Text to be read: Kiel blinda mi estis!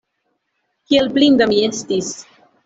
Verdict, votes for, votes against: accepted, 2, 0